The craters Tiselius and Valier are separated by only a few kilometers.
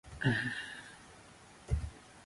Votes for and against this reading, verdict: 0, 4, rejected